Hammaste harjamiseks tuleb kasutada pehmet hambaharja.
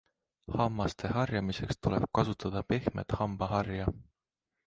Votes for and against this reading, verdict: 2, 0, accepted